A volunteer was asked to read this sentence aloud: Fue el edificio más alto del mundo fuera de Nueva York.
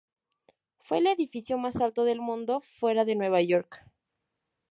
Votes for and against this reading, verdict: 2, 2, rejected